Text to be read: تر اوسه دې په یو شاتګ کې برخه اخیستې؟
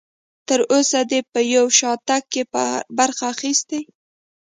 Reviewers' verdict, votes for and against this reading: accepted, 3, 0